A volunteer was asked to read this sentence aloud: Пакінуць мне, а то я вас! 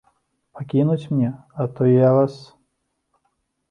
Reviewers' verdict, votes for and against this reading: accepted, 2, 0